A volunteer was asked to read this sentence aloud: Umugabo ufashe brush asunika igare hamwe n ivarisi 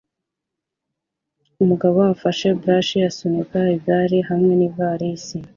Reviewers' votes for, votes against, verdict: 2, 0, accepted